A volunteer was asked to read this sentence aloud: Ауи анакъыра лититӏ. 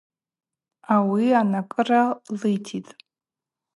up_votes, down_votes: 0, 2